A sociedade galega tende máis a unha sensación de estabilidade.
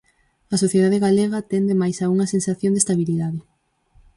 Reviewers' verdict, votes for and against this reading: accepted, 4, 0